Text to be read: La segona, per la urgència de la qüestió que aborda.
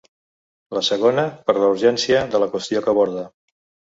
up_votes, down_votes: 2, 0